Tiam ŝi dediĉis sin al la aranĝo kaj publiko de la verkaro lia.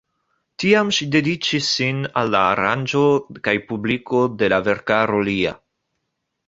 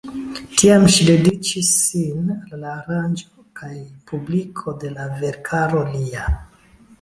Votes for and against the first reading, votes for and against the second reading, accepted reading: 2, 0, 1, 2, first